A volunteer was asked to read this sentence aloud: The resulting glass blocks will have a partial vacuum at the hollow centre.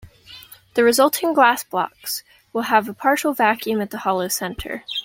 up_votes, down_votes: 2, 0